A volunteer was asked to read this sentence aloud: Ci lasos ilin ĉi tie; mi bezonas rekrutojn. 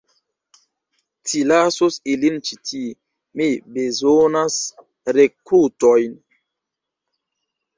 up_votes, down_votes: 0, 2